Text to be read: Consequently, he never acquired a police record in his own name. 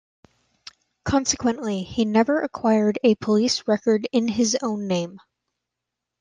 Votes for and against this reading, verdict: 2, 0, accepted